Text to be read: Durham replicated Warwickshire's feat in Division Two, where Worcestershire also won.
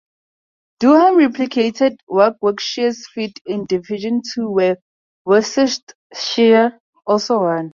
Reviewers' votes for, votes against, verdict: 0, 2, rejected